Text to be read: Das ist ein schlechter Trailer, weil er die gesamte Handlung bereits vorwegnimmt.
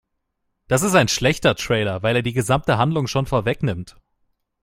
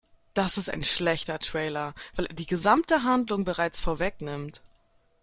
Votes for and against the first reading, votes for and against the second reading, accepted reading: 0, 2, 2, 0, second